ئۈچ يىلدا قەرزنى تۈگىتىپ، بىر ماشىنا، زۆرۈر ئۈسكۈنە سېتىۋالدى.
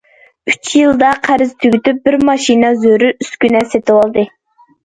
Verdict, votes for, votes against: rejected, 0, 2